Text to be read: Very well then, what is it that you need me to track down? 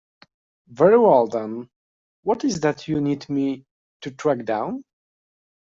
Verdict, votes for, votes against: rejected, 1, 2